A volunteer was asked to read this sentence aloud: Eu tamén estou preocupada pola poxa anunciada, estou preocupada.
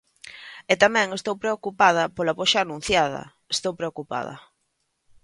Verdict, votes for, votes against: rejected, 0, 2